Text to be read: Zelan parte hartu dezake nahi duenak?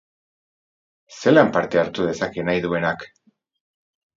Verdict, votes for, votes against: rejected, 2, 2